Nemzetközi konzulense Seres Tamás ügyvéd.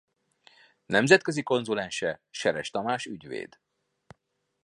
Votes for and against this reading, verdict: 2, 0, accepted